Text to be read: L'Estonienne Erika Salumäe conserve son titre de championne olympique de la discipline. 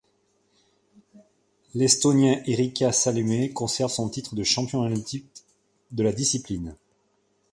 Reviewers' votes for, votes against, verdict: 1, 2, rejected